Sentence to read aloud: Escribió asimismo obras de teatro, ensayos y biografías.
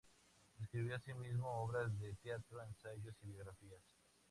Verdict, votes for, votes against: accepted, 2, 0